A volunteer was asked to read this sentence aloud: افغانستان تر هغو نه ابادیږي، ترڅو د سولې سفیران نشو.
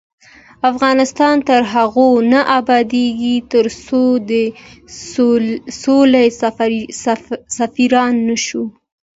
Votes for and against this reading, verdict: 2, 1, accepted